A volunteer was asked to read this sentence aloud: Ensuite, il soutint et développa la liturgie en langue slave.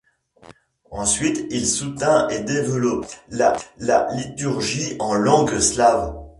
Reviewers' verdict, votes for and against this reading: rejected, 0, 2